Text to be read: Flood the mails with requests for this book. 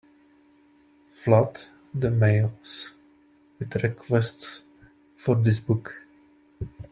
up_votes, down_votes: 0, 2